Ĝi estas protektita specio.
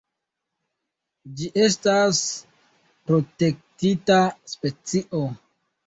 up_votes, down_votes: 2, 1